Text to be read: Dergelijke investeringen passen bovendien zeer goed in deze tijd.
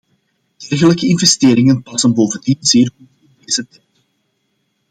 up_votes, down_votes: 0, 2